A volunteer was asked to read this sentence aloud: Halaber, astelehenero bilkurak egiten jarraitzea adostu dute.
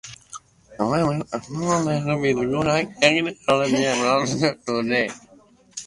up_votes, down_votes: 0, 2